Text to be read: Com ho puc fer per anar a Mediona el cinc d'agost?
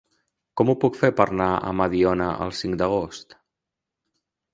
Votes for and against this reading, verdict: 0, 2, rejected